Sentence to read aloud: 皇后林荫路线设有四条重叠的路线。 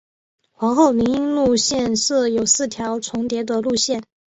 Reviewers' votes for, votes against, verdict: 3, 0, accepted